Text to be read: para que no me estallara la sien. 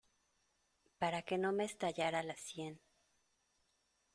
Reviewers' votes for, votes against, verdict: 2, 0, accepted